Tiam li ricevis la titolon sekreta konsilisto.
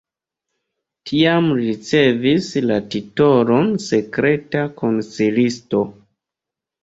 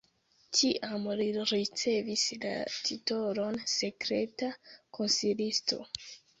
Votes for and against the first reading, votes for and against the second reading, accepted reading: 2, 1, 1, 2, first